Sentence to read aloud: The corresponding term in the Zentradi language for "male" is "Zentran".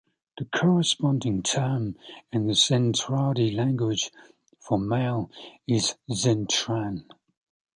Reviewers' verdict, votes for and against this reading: accepted, 2, 0